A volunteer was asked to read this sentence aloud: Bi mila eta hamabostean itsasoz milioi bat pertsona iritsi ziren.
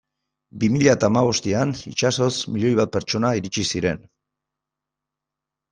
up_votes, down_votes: 2, 0